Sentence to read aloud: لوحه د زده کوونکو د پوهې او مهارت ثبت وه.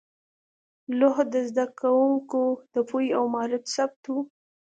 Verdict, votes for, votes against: accepted, 2, 0